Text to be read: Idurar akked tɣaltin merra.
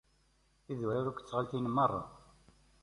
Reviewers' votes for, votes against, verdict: 2, 0, accepted